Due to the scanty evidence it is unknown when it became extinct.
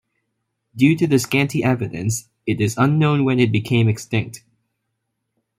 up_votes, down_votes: 2, 0